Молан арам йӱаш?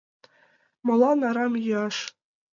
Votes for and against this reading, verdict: 2, 0, accepted